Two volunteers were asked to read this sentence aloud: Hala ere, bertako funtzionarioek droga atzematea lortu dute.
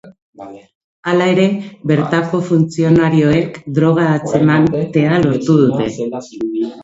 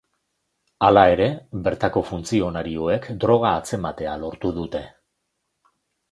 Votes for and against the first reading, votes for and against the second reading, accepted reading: 1, 2, 2, 0, second